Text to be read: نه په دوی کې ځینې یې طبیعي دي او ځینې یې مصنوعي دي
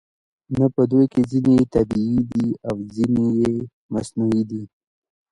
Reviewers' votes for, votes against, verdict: 0, 2, rejected